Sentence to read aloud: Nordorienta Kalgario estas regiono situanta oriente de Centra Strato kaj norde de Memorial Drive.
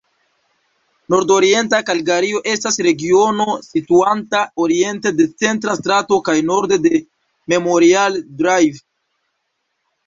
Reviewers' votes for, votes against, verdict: 1, 2, rejected